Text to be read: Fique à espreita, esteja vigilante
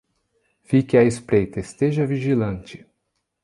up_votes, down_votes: 2, 0